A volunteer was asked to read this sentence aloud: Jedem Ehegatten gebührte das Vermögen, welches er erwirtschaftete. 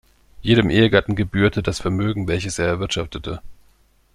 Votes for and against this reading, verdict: 2, 0, accepted